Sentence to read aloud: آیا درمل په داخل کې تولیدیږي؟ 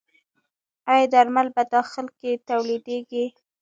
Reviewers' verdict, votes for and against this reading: accepted, 2, 0